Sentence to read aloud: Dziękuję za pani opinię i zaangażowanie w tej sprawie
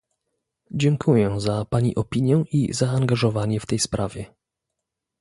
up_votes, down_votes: 1, 2